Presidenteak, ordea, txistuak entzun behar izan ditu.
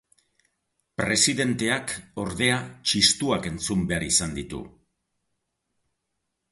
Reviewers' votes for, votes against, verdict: 2, 0, accepted